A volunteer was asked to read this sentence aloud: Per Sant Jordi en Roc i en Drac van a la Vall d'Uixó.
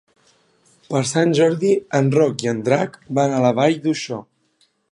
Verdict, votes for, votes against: accepted, 3, 0